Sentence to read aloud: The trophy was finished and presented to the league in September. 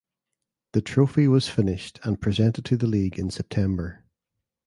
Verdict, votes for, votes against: accepted, 2, 0